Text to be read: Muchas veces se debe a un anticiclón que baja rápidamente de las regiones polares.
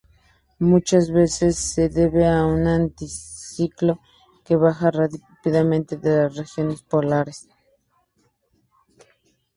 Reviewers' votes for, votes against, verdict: 0, 2, rejected